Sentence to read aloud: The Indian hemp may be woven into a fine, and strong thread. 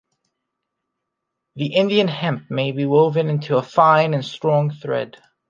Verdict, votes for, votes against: accepted, 2, 0